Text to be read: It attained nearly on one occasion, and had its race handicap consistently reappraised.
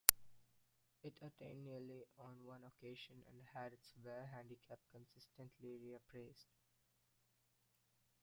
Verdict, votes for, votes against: rejected, 0, 2